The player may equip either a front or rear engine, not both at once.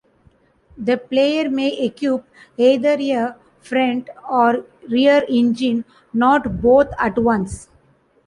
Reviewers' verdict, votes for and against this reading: accepted, 2, 1